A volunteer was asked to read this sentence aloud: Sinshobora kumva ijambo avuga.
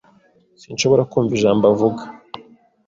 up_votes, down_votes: 2, 0